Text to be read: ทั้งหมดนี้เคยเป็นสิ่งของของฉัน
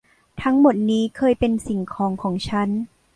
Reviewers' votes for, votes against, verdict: 2, 0, accepted